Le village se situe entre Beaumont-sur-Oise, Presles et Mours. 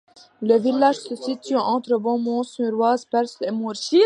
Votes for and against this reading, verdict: 0, 2, rejected